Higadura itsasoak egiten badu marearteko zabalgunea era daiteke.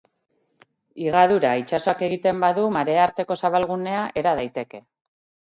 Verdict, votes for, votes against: rejected, 2, 2